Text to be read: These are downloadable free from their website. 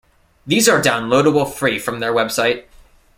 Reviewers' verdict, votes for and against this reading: accepted, 2, 0